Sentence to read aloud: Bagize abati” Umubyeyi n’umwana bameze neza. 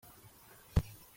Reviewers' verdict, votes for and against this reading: rejected, 0, 2